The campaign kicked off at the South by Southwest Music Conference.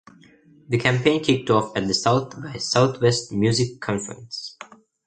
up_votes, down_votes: 1, 2